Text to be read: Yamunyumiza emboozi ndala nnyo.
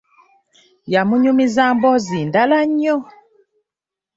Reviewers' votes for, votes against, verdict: 2, 1, accepted